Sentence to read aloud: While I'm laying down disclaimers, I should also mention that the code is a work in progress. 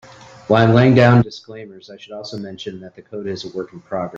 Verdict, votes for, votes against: rejected, 0, 2